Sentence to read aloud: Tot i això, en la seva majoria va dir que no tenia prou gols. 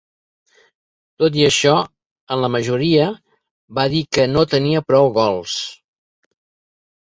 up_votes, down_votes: 1, 2